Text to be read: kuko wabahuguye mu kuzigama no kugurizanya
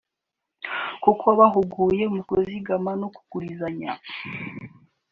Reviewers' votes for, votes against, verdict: 6, 0, accepted